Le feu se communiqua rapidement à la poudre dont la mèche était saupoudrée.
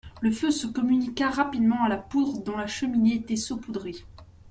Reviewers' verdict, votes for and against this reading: rejected, 0, 2